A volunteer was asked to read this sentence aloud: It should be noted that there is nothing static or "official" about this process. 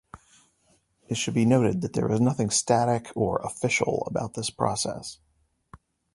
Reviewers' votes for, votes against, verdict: 2, 0, accepted